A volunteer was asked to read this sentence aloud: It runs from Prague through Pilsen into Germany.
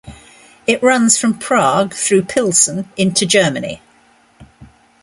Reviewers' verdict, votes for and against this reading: accepted, 2, 0